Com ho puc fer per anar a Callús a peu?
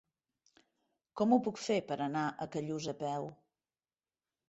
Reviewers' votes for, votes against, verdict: 3, 0, accepted